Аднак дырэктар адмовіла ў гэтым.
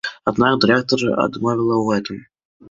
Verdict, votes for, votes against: accepted, 2, 1